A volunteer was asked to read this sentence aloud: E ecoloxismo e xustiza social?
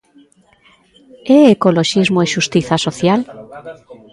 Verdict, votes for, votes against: accepted, 2, 1